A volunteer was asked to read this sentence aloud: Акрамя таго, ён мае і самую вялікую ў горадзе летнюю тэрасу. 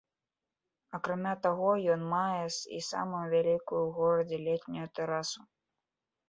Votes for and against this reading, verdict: 2, 0, accepted